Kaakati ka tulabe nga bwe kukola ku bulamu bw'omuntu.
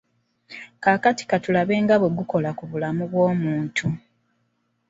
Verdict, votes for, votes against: rejected, 0, 2